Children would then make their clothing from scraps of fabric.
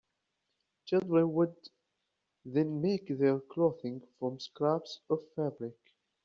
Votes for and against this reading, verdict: 2, 1, accepted